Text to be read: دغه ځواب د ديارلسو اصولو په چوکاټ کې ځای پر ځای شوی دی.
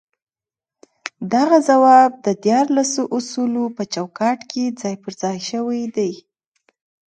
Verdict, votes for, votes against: rejected, 0, 2